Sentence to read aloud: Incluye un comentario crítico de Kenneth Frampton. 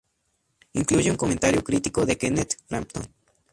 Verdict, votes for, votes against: rejected, 0, 2